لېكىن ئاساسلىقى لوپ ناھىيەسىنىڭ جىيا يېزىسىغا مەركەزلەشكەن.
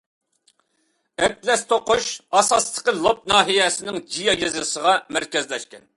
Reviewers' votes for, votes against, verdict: 0, 2, rejected